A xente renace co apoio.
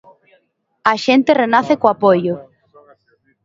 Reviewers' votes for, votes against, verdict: 3, 0, accepted